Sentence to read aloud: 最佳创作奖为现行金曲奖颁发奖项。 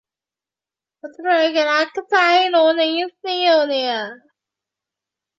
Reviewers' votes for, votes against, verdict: 0, 2, rejected